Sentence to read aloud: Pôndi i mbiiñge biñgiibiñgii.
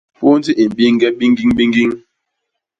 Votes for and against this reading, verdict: 0, 2, rejected